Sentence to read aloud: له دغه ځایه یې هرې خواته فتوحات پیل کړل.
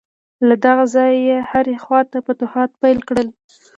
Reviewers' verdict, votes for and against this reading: accepted, 2, 1